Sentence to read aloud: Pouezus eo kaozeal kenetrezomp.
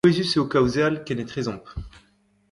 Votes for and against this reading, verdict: 1, 2, rejected